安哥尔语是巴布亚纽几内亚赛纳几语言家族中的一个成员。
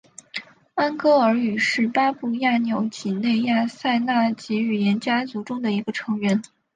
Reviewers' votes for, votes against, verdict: 5, 1, accepted